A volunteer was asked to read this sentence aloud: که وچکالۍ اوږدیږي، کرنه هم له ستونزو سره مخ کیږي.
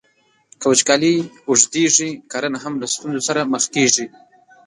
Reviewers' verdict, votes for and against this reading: rejected, 1, 2